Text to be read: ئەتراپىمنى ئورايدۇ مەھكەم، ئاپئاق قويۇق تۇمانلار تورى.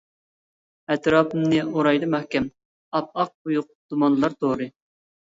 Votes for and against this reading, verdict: 0, 2, rejected